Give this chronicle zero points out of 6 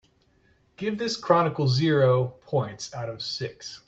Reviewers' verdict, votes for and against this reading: rejected, 0, 2